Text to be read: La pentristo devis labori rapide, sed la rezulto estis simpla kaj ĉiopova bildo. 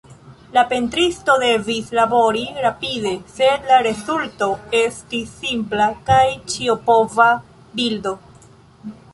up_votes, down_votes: 1, 2